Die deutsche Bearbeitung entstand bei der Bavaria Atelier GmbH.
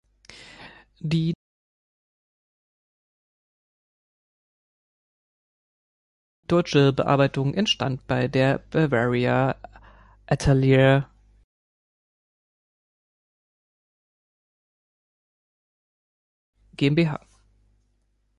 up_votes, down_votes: 1, 3